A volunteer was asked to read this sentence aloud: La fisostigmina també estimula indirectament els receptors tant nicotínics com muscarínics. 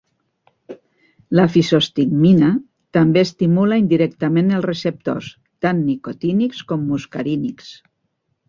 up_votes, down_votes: 2, 0